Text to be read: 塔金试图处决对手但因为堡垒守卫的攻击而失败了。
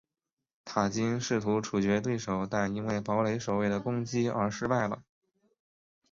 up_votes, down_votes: 2, 0